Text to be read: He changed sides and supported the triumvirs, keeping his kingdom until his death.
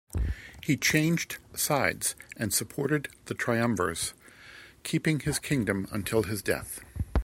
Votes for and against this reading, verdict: 2, 0, accepted